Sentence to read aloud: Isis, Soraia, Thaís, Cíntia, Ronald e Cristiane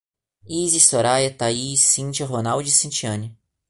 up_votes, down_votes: 0, 2